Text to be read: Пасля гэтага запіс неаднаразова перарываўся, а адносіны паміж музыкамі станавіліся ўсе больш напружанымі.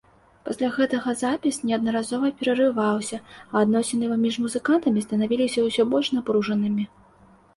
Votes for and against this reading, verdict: 0, 3, rejected